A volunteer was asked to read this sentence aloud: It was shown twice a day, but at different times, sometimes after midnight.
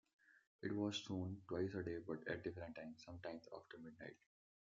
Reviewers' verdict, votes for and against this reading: accepted, 2, 0